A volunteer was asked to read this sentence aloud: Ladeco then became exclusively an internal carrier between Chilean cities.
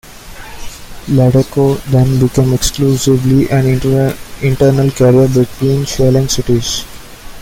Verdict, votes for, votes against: rejected, 0, 2